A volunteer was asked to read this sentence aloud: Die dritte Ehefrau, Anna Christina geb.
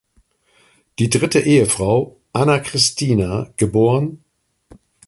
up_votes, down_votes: 2, 0